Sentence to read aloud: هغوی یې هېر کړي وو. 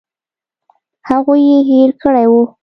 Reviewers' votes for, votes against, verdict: 2, 0, accepted